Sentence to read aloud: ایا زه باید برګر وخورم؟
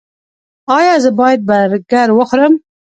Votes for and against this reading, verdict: 1, 2, rejected